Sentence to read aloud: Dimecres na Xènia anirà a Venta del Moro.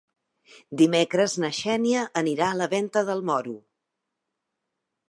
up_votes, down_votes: 1, 2